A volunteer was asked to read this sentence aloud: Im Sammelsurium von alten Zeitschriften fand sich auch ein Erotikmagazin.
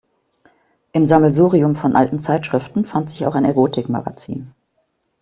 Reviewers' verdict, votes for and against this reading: accepted, 2, 0